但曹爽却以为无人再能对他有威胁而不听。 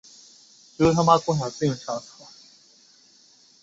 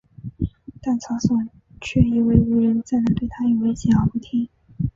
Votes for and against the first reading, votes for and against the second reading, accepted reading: 1, 2, 4, 0, second